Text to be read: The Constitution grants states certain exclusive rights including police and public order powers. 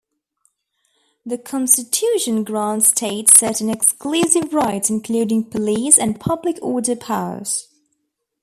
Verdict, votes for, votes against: accepted, 2, 0